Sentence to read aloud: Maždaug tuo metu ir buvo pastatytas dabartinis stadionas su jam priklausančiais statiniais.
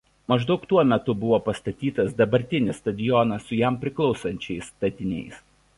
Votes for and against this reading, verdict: 1, 2, rejected